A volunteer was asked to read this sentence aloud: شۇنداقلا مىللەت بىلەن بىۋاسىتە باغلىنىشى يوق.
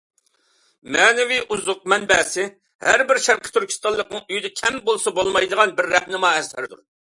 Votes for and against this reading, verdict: 0, 2, rejected